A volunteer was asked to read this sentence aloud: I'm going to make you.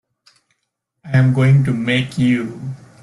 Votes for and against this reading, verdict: 1, 2, rejected